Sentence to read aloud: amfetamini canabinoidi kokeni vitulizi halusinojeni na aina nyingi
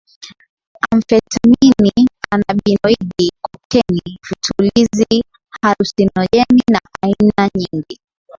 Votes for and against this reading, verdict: 1, 3, rejected